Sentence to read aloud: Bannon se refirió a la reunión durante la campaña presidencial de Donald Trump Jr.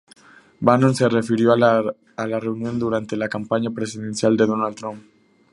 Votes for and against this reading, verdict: 0, 2, rejected